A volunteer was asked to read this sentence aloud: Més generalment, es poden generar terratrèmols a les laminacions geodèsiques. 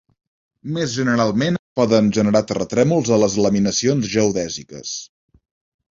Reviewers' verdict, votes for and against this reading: rejected, 1, 2